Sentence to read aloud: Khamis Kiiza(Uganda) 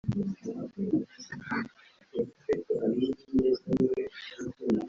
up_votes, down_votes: 0, 2